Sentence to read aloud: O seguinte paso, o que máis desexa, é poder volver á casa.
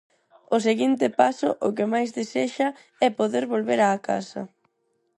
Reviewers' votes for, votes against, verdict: 4, 0, accepted